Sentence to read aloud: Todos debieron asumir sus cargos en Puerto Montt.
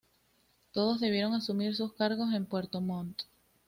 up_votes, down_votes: 2, 0